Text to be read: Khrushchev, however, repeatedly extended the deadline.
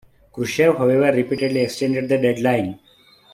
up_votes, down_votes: 1, 2